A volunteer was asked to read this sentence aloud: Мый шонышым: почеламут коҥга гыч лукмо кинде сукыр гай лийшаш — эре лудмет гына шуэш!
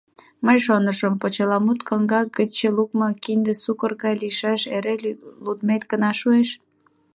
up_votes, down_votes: 1, 2